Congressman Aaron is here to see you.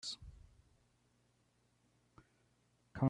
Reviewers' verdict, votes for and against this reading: rejected, 0, 2